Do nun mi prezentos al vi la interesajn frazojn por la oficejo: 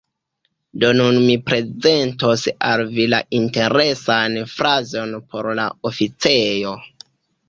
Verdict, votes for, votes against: rejected, 1, 2